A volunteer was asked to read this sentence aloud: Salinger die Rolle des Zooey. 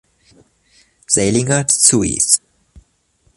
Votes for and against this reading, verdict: 0, 2, rejected